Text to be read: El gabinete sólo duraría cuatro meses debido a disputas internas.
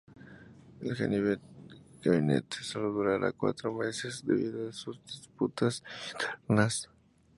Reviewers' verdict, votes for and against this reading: rejected, 0, 2